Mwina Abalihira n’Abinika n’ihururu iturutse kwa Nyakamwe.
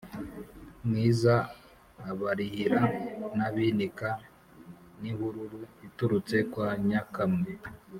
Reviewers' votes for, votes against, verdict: 2, 3, rejected